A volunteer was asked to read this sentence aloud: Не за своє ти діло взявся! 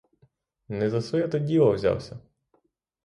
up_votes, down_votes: 3, 3